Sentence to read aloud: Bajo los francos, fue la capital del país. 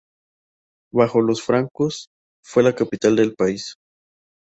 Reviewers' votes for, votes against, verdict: 4, 0, accepted